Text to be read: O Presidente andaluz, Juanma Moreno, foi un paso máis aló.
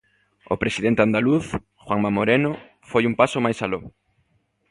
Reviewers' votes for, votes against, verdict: 2, 0, accepted